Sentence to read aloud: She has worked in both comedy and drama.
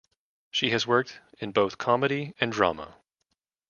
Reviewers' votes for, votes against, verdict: 2, 0, accepted